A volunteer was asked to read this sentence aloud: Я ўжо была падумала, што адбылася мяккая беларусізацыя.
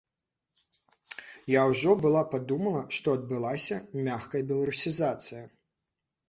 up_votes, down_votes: 1, 2